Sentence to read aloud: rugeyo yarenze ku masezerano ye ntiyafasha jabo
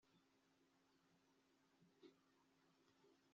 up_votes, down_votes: 0, 2